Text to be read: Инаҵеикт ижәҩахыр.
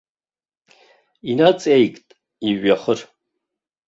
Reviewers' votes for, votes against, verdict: 2, 0, accepted